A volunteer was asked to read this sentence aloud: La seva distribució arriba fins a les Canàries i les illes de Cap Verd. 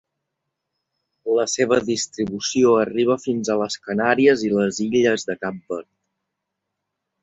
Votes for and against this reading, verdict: 2, 0, accepted